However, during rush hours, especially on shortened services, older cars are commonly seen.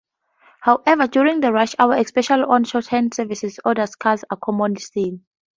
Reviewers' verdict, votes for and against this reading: accepted, 4, 2